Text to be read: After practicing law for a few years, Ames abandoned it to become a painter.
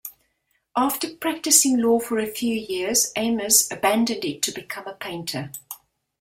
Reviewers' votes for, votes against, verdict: 2, 0, accepted